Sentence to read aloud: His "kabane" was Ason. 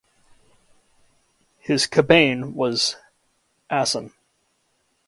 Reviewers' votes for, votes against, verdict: 2, 1, accepted